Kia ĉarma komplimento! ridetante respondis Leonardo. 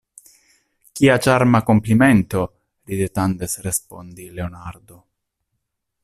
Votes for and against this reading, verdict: 0, 2, rejected